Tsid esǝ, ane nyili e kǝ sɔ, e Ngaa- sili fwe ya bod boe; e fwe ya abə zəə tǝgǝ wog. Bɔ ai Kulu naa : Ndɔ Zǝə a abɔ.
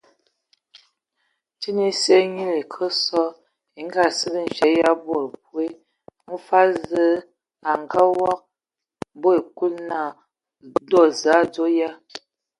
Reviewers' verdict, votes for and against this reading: rejected, 0, 2